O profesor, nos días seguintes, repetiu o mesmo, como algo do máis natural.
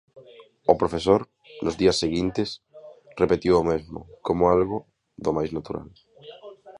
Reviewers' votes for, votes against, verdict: 2, 0, accepted